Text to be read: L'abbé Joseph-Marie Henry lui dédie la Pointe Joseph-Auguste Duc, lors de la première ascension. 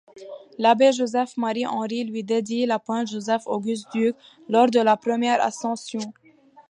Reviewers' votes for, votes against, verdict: 2, 0, accepted